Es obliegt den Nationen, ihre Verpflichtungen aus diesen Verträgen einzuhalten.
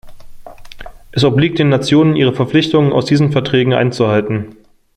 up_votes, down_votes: 1, 2